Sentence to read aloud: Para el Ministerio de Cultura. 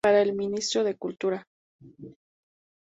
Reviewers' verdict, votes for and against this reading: rejected, 0, 2